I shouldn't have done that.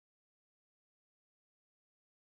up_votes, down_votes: 0, 2